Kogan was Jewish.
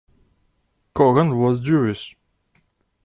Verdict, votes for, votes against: accepted, 2, 0